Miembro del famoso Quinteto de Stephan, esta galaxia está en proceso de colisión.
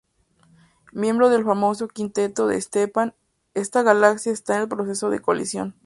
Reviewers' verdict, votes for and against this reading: accepted, 2, 0